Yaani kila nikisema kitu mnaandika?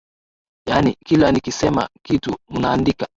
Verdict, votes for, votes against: accepted, 2, 0